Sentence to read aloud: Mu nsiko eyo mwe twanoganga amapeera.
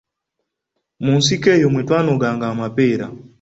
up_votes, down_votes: 2, 0